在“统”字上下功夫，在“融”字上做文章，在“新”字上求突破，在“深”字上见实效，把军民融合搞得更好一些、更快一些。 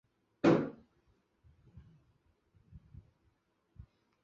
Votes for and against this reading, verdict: 0, 2, rejected